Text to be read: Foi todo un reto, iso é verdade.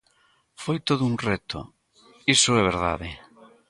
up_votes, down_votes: 2, 1